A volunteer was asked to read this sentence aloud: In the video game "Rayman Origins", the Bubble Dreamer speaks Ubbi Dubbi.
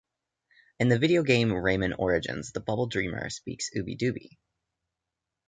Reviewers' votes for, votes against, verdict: 2, 0, accepted